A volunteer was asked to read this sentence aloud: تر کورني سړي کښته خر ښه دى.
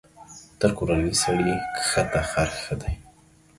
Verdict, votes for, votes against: accepted, 2, 0